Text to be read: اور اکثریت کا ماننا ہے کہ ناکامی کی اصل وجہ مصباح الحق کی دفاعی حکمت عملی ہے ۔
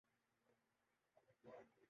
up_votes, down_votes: 0, 3